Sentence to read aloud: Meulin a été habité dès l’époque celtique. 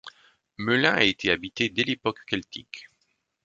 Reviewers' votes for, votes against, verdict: 1, 2, rejected